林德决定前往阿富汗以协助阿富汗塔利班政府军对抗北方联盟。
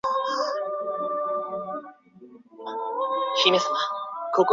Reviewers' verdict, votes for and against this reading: rejected, 0, 2